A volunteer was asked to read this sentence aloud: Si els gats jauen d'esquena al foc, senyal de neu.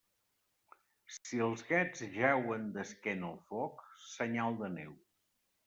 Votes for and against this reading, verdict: 1, 2, rejected